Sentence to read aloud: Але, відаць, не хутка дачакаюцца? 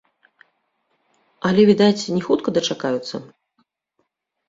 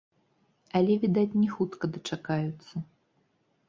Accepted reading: first